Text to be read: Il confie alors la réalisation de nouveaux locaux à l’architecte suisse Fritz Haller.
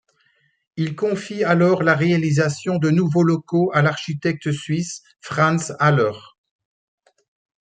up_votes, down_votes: 2, 0